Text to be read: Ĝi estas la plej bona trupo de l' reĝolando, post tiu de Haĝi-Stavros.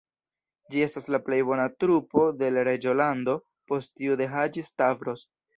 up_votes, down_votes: 1, 2